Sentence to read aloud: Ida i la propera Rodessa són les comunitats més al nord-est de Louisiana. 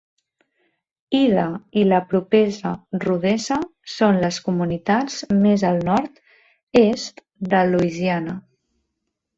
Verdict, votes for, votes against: rejected, 0, 2